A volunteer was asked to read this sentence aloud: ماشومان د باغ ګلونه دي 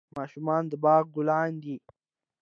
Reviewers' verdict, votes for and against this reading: accepted, 2, 0